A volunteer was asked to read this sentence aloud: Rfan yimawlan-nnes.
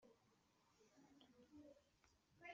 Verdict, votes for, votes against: rejected, 1, 2